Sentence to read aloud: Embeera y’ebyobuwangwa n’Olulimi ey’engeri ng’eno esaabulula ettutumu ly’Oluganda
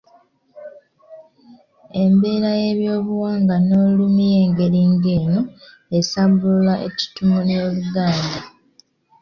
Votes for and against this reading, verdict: 2, 1, accepted